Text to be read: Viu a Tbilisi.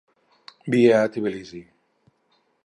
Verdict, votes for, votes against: rejected, 0, 4